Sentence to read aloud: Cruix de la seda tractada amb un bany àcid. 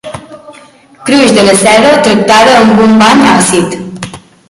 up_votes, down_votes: 1, 2